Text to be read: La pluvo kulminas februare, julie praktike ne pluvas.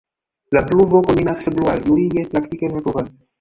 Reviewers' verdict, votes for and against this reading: rejected, 0, 2